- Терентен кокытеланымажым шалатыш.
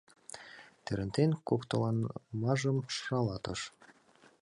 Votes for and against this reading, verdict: 0, 2, rejected